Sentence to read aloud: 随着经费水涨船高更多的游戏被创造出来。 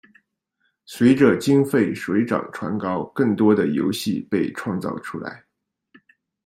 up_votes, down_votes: 2, 0